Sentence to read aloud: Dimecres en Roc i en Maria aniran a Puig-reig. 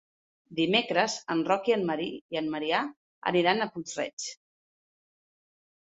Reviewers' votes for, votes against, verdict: 0, 2, rejected